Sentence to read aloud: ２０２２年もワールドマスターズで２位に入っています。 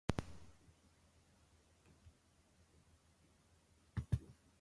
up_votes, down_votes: 0, 2